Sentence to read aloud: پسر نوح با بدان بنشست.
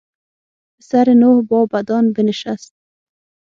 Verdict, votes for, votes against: rejected, 3, 6